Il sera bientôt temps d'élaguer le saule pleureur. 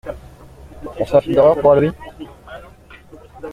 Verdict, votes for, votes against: rejected, 0, 2